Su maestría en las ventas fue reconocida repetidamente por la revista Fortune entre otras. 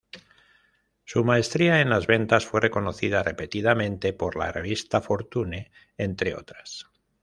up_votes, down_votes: 1, 2